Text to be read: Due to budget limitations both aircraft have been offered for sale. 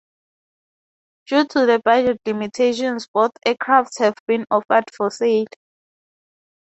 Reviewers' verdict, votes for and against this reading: rejected, 0, 2